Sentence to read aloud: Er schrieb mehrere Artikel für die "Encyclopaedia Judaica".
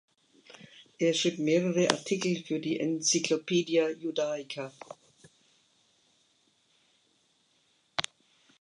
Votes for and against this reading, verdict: 2, 0, accepted